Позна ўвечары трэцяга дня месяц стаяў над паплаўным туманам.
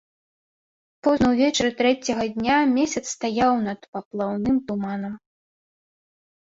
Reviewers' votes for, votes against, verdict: 2, 0, accepted